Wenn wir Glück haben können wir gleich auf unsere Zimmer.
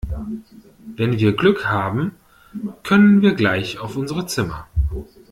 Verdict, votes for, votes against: accepted, 2, 0